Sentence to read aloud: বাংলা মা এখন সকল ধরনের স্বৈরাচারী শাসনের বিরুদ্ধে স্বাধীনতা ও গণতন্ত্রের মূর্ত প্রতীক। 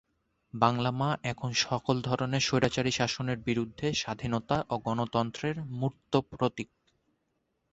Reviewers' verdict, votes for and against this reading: accepted, 9, 0